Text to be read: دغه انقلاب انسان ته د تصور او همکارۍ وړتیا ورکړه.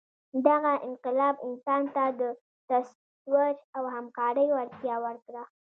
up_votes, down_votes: 0, 2